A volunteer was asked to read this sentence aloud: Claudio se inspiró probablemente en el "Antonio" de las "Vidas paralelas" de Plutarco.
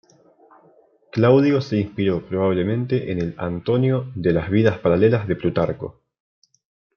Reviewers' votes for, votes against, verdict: 2, 0, accepted